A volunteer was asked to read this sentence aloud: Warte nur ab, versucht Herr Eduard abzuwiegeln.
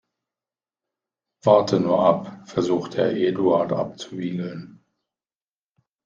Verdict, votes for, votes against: rejected, 0, 2